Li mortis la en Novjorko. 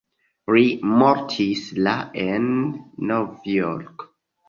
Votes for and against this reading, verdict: 1, 2, rejected